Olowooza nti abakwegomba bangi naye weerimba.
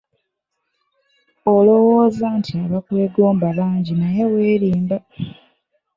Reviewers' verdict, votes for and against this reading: accepted, 2, 0